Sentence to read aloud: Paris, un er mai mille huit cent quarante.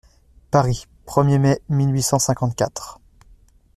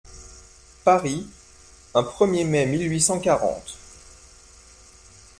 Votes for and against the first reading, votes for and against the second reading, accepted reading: 0, 2, 2, 1, second